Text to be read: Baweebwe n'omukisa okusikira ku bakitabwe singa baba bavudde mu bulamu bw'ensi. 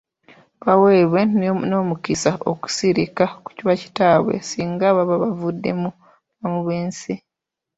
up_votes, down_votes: 0, 2